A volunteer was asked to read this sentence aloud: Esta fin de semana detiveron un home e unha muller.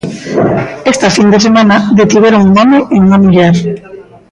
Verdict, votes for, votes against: rejected, 1, 2